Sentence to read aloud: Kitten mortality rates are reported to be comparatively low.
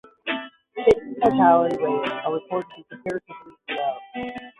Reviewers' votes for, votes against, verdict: 0, 10, rejected